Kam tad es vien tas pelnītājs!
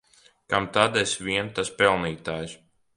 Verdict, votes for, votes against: accepted, 2, 0